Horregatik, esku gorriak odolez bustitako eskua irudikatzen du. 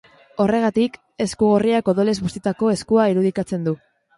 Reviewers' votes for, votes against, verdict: 2, 0, accepted